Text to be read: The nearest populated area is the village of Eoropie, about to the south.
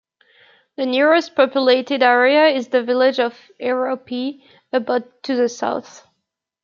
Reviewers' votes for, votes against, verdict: 2, 1, accepted